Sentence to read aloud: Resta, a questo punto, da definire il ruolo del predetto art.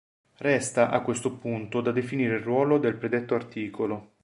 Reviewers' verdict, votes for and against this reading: rejected, 0, 2